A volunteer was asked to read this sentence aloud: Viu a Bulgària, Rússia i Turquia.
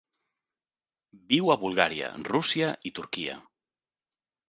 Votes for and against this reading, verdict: 3, 0, accepted